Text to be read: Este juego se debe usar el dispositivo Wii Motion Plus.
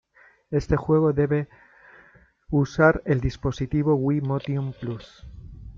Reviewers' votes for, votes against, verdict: 0, 2, rejected